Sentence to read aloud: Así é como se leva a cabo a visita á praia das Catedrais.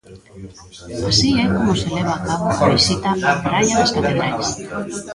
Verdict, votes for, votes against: rejected, 0, 2